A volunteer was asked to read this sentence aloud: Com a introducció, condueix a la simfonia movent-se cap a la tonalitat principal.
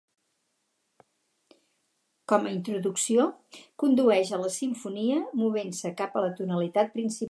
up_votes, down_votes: 0, 4